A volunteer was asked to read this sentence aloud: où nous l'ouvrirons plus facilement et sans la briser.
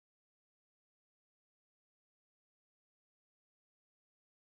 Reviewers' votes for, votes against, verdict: 1, 2, rejected